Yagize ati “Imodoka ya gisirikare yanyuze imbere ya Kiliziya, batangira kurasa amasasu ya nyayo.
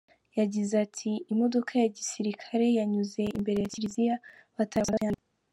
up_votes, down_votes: 0, 3